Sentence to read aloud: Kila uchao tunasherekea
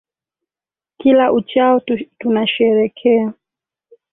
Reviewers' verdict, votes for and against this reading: rejected, 0, 3